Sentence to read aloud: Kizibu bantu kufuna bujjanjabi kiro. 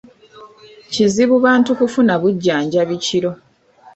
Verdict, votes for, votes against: rejected, 0, 2